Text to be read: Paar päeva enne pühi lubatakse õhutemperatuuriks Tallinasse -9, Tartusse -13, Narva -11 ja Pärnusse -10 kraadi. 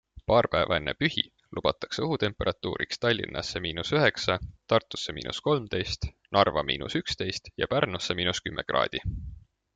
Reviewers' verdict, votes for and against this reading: rejected, 0, 2